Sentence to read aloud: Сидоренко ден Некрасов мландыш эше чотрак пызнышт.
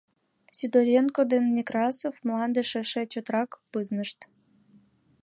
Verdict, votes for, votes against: accepted, 2, 0